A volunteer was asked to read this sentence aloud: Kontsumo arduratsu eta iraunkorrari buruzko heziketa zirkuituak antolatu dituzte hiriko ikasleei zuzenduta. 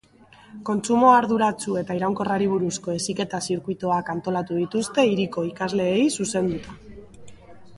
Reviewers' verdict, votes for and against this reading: accepted, 2, 0